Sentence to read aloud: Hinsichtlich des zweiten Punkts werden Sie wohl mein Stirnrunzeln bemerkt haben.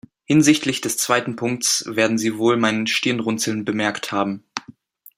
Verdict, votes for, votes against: accepted, 2, 0